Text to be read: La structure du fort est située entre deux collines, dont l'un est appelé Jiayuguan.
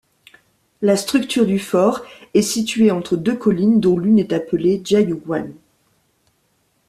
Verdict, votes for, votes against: rejected, 1, 2